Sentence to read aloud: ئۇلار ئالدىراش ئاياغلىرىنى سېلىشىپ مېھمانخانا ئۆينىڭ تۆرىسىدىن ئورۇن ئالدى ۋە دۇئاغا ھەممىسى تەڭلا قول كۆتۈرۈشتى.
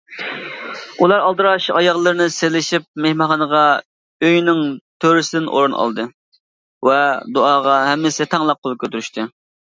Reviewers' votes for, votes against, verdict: 0, 2, rejected